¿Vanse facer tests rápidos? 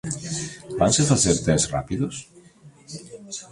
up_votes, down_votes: 2, 0